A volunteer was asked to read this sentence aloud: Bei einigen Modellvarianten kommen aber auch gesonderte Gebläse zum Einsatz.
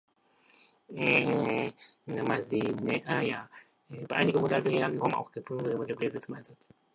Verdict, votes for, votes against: rejected, 0, 2